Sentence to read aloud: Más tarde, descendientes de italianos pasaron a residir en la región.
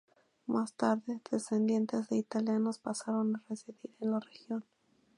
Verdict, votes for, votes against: rejected, 0, 2